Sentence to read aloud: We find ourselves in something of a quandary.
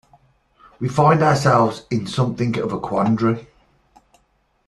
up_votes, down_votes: 2, 0